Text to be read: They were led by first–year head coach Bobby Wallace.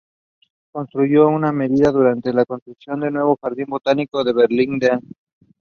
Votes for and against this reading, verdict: 0, 2, rejected